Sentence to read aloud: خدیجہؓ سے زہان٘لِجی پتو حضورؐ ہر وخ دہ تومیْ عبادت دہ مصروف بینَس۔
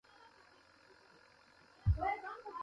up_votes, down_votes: 0, 2